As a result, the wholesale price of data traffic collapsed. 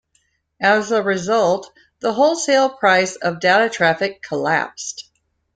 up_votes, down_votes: 2, 0